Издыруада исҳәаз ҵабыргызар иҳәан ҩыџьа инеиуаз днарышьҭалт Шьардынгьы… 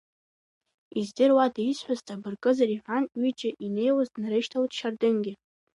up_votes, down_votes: 2, 0